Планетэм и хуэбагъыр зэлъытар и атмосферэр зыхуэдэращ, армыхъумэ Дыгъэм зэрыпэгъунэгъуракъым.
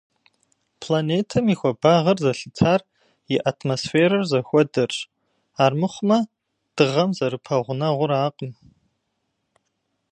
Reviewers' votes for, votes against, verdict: 1, 2, rejected